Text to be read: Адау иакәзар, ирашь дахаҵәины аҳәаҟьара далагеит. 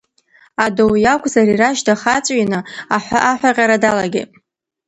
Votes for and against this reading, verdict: 1, 2, rejected